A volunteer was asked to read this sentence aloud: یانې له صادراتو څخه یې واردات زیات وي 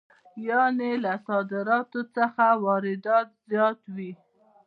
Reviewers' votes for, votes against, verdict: 2, 0, accepted